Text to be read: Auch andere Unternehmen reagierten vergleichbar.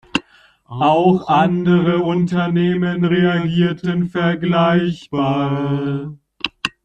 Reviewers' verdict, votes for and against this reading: rejected, 0, 3